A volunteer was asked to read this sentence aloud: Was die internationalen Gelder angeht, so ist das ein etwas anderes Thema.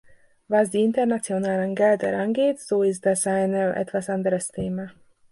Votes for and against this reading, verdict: 0, 2, rejected